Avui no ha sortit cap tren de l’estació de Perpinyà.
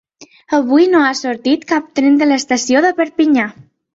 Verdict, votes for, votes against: accepted, 3, 0